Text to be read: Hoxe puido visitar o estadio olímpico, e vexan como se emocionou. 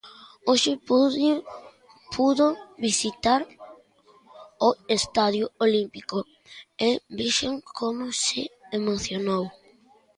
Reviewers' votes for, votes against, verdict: 0, 2, rejected